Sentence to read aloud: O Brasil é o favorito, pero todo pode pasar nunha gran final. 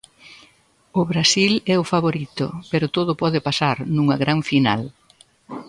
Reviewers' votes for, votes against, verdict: 2, 0, accepted